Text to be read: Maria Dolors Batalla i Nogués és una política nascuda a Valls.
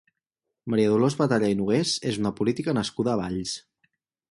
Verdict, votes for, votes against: accepted, 6, 0